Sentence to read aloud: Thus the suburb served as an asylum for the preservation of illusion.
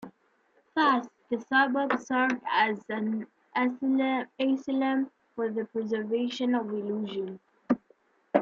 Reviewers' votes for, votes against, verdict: 1, 2, rejected